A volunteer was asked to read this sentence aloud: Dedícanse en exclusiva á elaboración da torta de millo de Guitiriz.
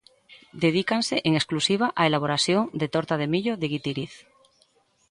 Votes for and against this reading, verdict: 0, 2, rejected